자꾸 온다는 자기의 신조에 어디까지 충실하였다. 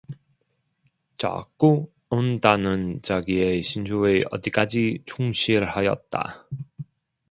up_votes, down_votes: 1, 2